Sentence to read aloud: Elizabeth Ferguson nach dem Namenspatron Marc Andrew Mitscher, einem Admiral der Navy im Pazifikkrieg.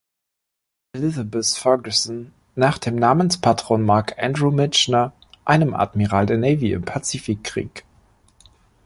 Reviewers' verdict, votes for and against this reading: rejected, 0, 2